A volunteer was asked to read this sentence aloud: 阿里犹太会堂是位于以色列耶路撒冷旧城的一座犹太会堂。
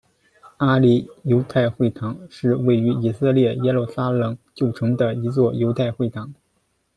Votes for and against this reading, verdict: 2, 0, accepted